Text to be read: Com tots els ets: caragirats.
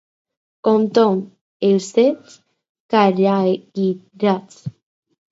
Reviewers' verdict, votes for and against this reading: rejected, 2, 4